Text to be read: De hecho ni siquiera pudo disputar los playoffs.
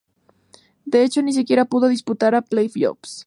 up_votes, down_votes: 0, 2